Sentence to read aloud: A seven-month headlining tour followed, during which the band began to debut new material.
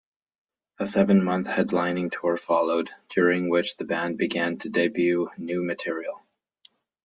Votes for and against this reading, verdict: 2, 0, accepted